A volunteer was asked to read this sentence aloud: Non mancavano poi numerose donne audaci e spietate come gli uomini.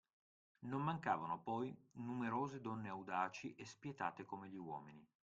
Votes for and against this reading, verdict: 2, 0, accepted